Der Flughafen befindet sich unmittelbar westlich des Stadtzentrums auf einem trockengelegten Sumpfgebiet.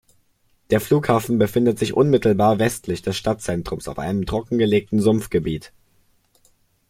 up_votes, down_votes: 2, 0